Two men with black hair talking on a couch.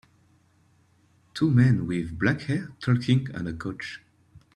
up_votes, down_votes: 2, 0